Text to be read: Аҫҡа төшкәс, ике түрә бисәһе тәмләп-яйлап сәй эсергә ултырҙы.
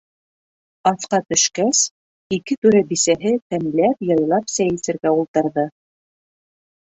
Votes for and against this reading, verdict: 2, 0, accepted